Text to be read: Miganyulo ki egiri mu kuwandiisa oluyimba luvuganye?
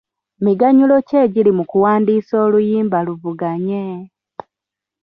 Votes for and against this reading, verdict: 2, 1, accepted